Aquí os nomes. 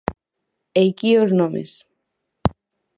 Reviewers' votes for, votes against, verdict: 0, 6, rejected